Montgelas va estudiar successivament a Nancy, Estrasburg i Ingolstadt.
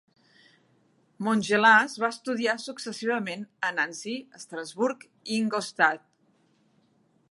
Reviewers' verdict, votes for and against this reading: accepted, 2, 0